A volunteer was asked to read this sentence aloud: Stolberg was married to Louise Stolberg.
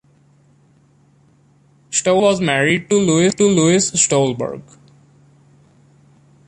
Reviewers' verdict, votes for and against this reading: rejected, 0, 2